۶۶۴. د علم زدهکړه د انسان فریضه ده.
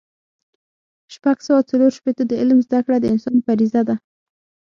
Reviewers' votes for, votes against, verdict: 0, 2, rejected